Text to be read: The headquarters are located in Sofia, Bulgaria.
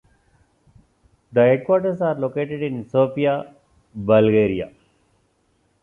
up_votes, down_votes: 2, 0